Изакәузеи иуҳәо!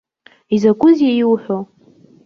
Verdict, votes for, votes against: rejected, 1, 2